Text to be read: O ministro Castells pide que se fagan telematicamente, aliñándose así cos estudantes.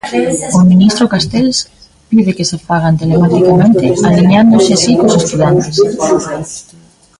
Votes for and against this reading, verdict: 1, 2, rejected